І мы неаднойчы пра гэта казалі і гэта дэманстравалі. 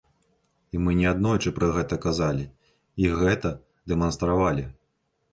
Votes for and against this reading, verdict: 2, 0, accepted